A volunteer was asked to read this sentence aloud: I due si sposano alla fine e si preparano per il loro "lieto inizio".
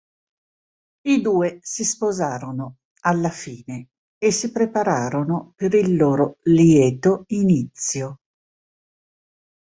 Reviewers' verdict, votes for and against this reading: rejected, 1, 3